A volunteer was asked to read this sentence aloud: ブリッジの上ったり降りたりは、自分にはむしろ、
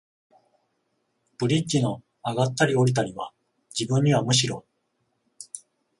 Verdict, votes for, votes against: rejected, 7, 7